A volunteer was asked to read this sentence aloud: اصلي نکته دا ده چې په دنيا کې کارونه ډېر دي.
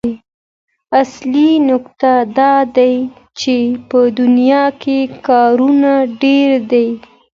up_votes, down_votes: 2, 0